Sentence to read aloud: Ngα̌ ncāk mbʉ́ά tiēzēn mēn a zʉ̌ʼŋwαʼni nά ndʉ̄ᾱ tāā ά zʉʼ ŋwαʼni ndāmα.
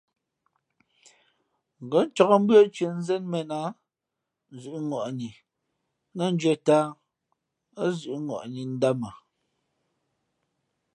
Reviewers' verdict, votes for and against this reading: accepted, 2, 0